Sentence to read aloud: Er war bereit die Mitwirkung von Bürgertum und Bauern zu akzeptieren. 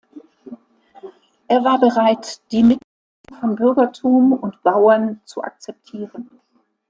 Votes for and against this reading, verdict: 0, 2, rejected